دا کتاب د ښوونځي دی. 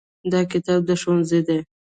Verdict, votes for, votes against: rejected, 0, 2